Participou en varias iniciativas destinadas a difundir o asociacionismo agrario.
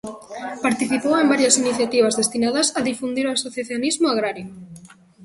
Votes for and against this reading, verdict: 1, 2, rejected